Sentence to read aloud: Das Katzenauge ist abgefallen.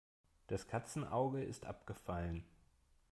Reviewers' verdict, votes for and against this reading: accepted, 2, 0